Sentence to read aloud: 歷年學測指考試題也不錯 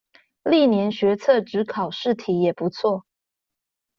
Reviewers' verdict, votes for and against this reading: accepted, 2, 0